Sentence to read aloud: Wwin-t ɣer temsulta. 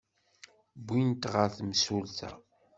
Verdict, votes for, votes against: accepted, 2, 0